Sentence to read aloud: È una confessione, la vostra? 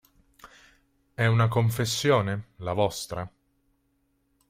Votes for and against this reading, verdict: 2, 0, accepted